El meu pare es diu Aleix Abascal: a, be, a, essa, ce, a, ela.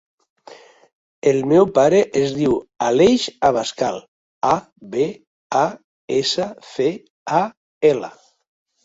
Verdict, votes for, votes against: rejected, 1, 2